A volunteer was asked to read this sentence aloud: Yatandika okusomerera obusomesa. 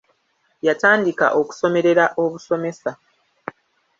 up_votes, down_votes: 1, 2